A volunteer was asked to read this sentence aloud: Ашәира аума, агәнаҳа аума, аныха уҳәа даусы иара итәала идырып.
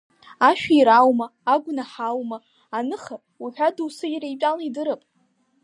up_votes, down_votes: 3, 0